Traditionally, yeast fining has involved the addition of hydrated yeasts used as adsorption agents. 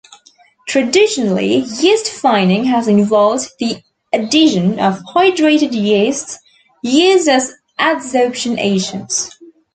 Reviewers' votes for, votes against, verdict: 3, 1, accepted